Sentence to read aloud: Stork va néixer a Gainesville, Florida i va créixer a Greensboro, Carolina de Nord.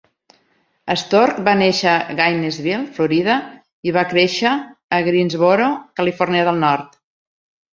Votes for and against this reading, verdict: 3, 0, accepted